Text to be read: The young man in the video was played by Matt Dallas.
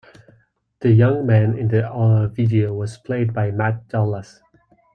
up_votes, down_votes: 1, 2